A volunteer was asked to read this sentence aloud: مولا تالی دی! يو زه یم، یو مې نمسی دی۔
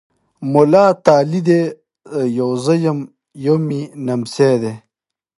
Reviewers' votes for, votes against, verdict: 2, 1, accepted